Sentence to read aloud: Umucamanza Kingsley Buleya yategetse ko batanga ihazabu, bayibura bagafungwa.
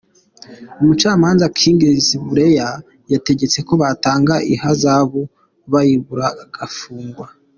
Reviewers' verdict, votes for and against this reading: accepted, 2, 1